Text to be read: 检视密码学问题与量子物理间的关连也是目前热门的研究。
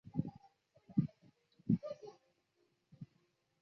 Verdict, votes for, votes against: rejected, 1, 3